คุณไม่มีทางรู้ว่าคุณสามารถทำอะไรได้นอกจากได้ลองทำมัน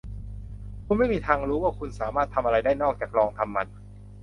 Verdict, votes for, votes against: rejected, 1, 2